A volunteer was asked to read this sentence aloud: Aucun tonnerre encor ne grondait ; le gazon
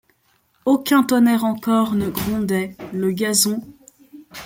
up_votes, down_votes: 2, 1